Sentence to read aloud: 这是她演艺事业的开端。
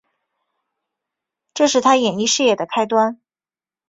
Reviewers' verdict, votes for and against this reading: accepted, 3, 0